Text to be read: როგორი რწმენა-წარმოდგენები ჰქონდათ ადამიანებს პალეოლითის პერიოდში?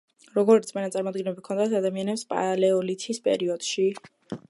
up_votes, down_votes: 0, 2